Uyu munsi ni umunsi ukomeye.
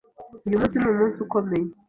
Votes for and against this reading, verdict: 2, 0, accepted